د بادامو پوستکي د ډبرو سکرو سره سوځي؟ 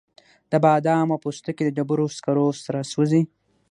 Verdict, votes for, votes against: rejected, 3, 6